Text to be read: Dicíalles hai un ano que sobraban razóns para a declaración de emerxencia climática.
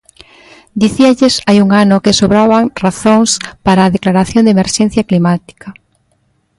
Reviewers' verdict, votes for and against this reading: accepted, 2, 0